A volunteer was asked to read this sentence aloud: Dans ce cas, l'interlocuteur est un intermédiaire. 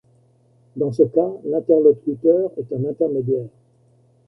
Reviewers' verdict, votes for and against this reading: accepted, 2, 0